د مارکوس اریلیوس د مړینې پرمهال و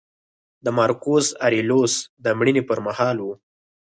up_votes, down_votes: 6, 0